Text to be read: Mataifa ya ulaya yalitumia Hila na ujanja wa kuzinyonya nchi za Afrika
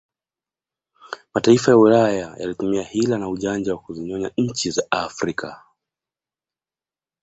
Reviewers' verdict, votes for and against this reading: accepted, 2, 0